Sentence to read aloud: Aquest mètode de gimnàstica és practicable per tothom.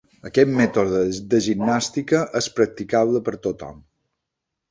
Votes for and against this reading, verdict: 4, 1, accepted